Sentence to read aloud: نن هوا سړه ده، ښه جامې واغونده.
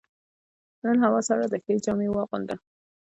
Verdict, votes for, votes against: rejected, 1, 2